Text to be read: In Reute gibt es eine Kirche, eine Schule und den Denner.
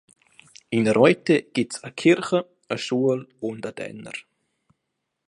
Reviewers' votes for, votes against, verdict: 3, 1, accepted